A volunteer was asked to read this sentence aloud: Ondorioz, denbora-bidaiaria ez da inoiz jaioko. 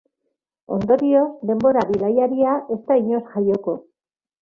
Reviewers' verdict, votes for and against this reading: accepted, 2, 0